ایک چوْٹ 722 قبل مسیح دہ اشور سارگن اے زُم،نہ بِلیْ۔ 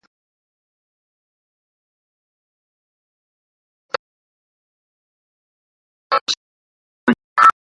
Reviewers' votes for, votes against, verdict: 0, 2, rejected